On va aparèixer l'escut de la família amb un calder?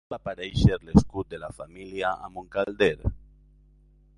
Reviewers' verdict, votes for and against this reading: rejected, 0, 2